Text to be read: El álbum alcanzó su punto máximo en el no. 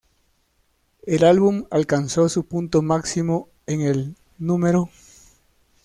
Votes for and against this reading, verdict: 0, 2, rejected